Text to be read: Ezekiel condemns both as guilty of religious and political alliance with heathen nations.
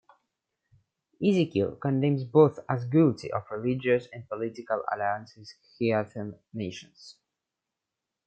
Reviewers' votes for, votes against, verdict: 2, 1, accepted